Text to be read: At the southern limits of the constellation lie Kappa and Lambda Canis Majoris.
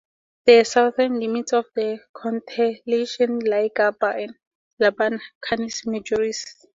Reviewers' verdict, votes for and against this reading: rejected, 0, 4